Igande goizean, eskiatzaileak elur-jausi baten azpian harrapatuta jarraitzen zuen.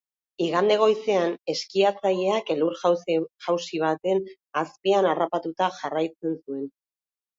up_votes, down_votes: 2, 1